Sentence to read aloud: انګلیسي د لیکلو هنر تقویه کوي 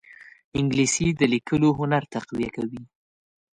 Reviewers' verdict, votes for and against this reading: accepted, 2, 0